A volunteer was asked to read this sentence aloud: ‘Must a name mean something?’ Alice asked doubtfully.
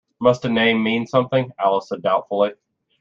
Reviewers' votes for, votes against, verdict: 1, 2, rejected